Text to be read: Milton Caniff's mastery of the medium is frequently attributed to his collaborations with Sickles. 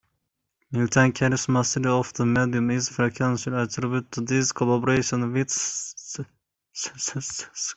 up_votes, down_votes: 0, 2